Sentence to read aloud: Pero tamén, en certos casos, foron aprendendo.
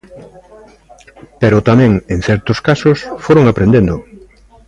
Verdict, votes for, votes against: rejected, 1, 2